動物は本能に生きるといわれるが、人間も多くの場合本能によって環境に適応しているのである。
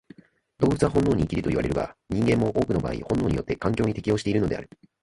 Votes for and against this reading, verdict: 1, 2, rejected